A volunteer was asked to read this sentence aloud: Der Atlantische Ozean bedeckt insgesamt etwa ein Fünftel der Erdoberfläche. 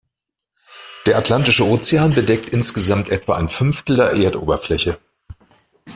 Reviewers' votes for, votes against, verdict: 0, 2, rejected